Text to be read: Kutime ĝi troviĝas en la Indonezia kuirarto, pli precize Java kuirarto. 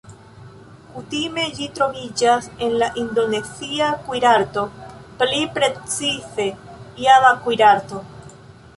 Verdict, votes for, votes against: rejected, 0, 2